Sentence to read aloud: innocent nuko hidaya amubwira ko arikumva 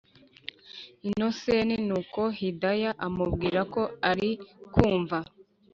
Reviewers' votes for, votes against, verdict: 3, 0, accepted